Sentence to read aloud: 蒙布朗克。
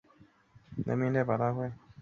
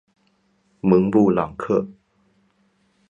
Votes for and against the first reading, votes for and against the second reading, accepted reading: 1, 3, 4, 0, second